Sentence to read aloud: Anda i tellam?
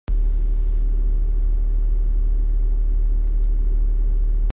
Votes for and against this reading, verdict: 0, 2, rejected